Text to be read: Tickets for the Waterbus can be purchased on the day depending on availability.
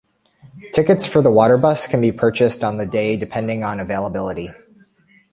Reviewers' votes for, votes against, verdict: 2, 0, accepted